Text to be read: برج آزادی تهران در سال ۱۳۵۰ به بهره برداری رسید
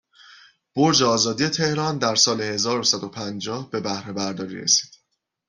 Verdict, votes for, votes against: rejected, 0, 2